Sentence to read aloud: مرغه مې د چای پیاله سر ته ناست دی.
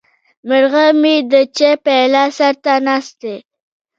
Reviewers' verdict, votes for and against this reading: rejected, 1, 2